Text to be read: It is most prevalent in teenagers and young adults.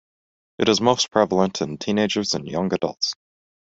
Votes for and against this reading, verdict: 2, 0, accepted